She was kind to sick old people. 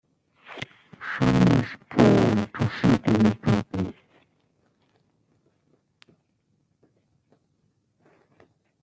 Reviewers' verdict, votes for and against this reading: rejected, 1, 2